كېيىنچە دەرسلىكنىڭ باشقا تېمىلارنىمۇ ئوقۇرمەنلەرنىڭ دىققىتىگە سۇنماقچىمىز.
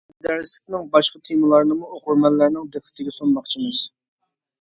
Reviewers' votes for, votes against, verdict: 0, 2, rejected